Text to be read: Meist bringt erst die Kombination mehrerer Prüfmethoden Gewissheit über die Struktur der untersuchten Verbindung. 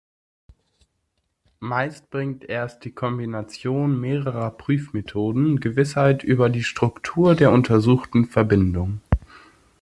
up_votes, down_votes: 2, 0